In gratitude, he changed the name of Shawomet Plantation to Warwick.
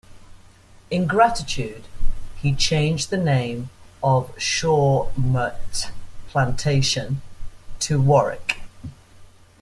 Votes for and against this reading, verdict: 0, 2, rejected